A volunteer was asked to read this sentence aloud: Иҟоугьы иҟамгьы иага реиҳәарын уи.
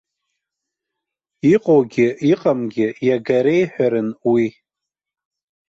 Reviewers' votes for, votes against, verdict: 0, 2, rejected